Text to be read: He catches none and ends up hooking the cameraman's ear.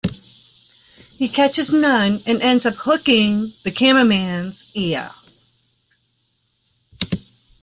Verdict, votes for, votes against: accepted, 2, 0